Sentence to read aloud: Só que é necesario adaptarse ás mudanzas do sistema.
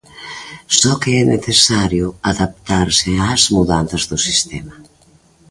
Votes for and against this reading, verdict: 2, 0, accepted